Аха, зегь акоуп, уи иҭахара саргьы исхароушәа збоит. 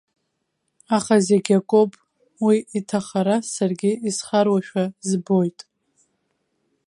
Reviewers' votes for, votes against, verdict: 2, 0, accepted